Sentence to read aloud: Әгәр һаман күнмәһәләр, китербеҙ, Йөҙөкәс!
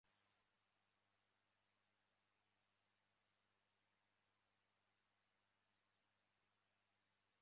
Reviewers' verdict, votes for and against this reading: rejected, 0, 2